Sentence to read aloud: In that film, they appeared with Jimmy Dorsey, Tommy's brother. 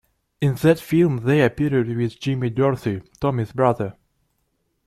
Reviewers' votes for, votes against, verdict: 2, 1, accepted